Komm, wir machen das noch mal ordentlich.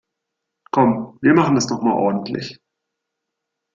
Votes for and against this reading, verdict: 2, 0, accepted